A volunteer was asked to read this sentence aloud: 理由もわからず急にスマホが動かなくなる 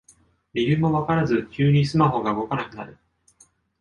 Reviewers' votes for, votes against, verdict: 2, 0, accepted